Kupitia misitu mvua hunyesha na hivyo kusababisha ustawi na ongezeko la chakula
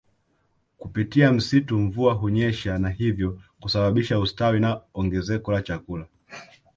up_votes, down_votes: 0, 2